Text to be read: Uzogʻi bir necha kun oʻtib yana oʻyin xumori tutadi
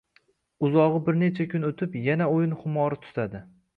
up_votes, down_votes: 2, 0